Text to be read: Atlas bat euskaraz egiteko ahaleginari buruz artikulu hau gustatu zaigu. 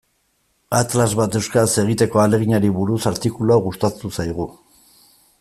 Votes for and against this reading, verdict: 2, 0, accepted